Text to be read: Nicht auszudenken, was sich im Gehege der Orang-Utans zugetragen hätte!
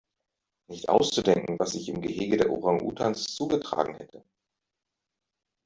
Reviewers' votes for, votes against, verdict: 2, 0, accepted